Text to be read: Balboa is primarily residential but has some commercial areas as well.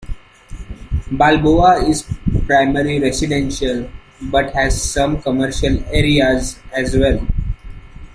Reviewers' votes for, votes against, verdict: 1, 2, rejected